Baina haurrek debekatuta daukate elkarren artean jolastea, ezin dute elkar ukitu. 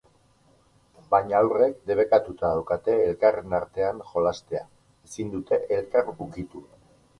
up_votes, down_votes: 4, 0